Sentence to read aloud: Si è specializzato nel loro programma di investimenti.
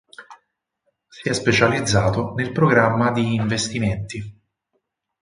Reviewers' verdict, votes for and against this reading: rejected, 0, 4